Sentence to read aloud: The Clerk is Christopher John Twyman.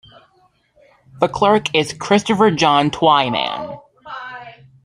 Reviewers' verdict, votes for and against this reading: accepted, 2, 1